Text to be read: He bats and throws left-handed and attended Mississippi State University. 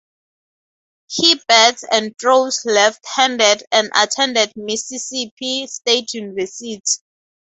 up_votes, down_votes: 2, 2